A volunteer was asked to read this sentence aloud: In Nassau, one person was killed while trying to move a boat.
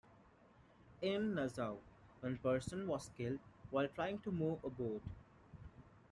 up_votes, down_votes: 2, 0